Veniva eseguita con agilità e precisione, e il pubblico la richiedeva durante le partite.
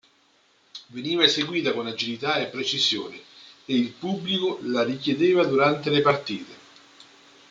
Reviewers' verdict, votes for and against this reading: accepted, 2, 0